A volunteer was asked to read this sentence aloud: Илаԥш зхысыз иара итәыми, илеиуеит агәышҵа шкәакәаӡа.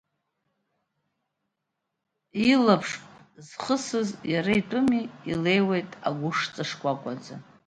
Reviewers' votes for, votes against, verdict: 2, 0, accepted